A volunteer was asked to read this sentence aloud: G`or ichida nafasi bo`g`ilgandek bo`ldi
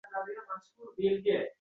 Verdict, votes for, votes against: rejected, 0, 2